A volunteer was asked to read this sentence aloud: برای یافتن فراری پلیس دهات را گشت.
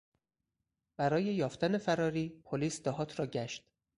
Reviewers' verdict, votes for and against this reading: rejected, 2, 4